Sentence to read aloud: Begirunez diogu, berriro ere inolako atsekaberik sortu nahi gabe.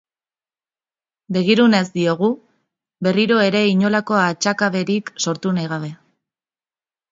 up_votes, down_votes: 1, 2